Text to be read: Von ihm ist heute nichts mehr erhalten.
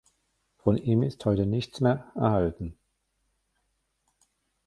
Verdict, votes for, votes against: rejected, 1, 2